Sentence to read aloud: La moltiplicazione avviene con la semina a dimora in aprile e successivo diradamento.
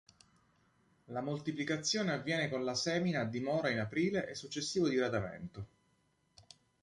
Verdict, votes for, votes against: accepted, 2, 0